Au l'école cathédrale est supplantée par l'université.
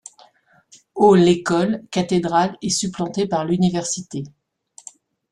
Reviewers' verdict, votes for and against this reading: accepted, 2, 0